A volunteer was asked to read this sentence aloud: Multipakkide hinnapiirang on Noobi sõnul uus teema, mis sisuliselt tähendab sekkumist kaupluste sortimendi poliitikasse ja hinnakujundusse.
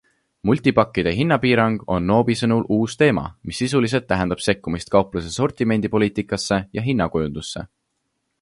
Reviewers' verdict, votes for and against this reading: accepted, 2, 0